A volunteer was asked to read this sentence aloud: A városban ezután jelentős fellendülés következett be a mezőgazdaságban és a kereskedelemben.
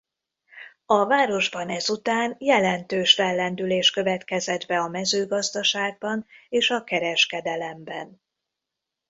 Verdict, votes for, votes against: accepted, 2, 0